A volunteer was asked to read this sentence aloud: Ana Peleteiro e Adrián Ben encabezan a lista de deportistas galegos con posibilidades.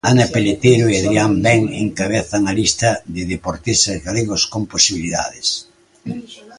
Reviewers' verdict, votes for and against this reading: rejected, 0, 2